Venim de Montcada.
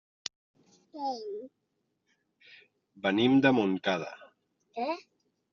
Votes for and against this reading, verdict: 1, 2, rejected